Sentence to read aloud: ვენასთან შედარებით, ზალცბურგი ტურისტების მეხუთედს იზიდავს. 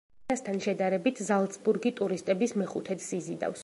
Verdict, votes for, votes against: rejected, 0, 2